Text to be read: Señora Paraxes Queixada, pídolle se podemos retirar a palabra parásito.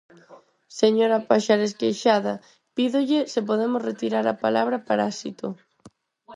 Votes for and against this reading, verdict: 2, 4, rejected